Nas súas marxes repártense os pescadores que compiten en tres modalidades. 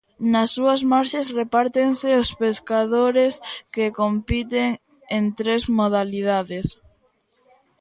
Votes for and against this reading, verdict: 2, 0, accepted